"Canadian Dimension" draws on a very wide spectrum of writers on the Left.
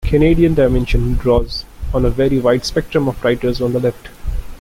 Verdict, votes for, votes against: accepted, 2, 1